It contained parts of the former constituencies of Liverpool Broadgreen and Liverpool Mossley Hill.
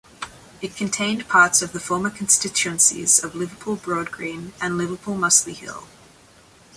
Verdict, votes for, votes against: accepted, 2, 0